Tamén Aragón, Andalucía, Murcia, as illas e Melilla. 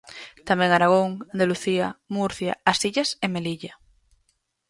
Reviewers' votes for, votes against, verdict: 2, 2, rejected